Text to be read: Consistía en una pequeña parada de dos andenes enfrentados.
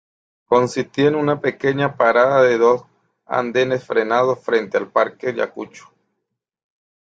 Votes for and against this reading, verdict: 0, 2, rejected